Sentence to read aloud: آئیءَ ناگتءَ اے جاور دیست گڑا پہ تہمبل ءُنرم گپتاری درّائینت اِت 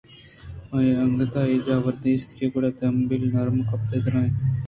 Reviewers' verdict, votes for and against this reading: rejected, 1, 2